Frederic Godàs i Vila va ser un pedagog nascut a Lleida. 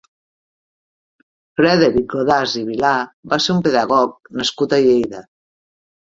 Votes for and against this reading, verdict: 0, 2, rejected